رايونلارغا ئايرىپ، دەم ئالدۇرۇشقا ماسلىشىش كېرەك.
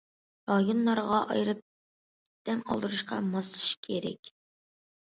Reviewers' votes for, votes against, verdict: 2, 0, accepted